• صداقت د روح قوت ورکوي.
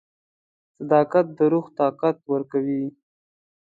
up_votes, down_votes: 1, 2